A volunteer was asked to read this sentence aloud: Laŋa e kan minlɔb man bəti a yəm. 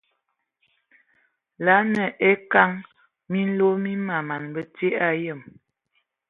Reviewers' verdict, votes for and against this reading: rejected, 1, 2